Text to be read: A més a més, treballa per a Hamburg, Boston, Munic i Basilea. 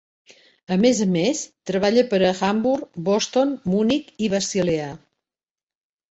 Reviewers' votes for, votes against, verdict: 0, 2, rejected